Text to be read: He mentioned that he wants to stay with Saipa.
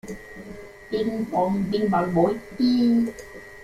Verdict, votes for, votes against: rejected, 0, 2